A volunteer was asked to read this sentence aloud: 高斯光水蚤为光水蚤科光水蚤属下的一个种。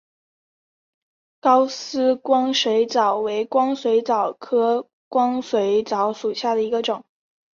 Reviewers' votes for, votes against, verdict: 2, 1, accepted